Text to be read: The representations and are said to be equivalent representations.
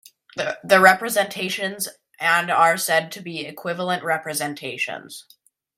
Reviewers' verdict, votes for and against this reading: accepted, 2, 0